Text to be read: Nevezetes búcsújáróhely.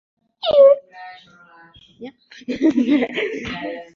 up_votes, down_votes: 0, 2